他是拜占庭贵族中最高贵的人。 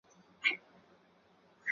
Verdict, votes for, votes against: rejected, 0, 2